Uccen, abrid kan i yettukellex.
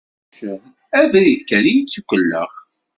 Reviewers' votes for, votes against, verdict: 1, 2, rejected